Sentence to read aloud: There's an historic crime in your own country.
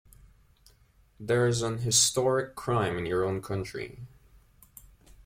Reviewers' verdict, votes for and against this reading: accepted, 2, 0